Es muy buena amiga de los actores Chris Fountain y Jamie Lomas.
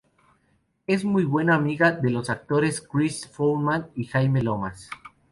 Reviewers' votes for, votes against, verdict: 0, 2, rejected